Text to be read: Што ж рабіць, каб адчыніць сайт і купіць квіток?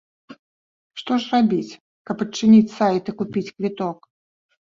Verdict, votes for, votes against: accepted, 2, 0